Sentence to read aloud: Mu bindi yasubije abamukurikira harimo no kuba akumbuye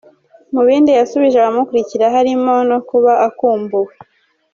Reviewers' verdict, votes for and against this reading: rejected, 1, 2